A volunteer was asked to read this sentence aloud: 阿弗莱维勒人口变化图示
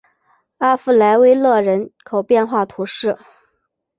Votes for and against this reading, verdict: 2, 0, accepted